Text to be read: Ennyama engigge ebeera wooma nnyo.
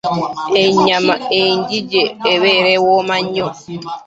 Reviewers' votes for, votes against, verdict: 0, 2, rejected